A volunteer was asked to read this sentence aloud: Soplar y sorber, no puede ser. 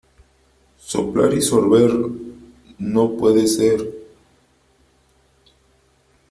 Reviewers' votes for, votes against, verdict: 3, 0, accepted